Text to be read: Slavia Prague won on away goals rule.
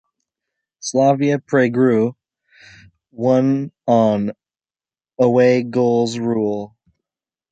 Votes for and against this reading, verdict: 2, 1, accepted